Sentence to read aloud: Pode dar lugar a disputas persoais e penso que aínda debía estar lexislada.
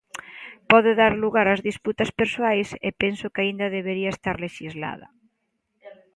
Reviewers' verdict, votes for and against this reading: rejected, 0, 2